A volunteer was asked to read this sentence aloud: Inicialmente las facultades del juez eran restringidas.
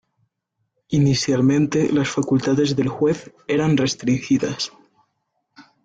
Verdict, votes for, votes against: rejected, 0, 2